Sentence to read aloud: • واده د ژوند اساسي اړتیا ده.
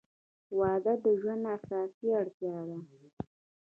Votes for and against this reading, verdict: 2, 1, accepted